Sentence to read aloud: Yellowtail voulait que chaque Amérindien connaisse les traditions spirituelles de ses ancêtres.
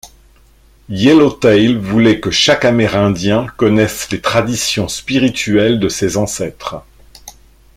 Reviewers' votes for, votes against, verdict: 0, 2, rejected